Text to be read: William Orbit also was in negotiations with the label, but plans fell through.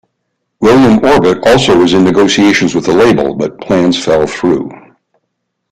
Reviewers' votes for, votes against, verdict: 2, 0, accepted